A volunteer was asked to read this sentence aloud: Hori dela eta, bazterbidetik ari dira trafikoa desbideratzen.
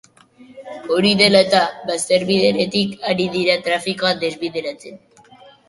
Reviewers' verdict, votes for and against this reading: rejected, 2, 2